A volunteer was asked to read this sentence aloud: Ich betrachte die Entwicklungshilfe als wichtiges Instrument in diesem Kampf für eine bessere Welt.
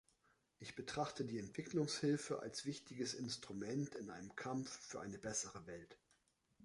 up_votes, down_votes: 0, 3